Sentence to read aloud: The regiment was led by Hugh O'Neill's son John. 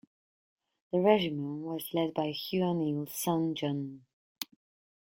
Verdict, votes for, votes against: rejected, 1, 2